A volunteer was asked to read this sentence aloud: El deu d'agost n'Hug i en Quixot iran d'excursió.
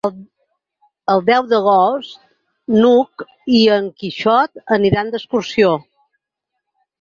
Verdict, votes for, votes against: rejected, 0, 4